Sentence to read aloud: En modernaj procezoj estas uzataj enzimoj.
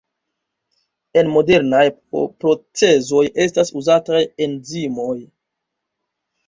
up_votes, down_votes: 2, 0